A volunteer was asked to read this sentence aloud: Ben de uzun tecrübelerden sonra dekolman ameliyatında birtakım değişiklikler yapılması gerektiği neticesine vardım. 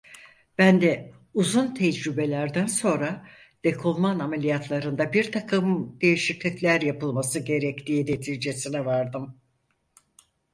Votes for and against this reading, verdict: 0, 4, rejected